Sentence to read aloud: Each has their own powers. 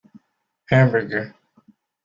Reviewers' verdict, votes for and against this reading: rejected, 0, 2